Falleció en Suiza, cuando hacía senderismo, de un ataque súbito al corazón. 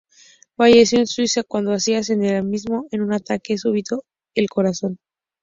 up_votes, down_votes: 2, 0